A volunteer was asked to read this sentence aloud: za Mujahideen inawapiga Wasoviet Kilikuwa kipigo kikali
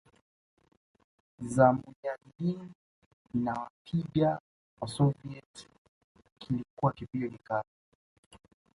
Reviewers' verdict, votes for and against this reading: accepted, 2, 1